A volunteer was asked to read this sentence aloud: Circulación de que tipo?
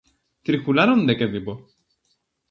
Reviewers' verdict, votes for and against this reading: rejected, 0, 2